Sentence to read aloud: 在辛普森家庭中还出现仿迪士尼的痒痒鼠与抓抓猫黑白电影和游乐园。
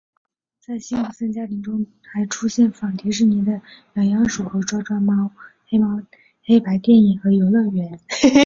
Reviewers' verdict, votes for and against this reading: rejected, 1, 4